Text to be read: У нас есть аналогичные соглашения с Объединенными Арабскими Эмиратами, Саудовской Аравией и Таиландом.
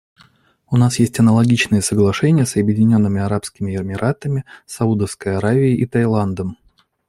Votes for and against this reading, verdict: 2, 0, accepted